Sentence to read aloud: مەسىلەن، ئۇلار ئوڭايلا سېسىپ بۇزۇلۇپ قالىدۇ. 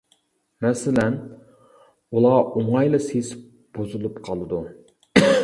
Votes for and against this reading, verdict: 0, 2, rejected